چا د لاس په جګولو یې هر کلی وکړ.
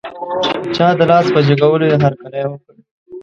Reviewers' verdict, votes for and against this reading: rejected, 0, 2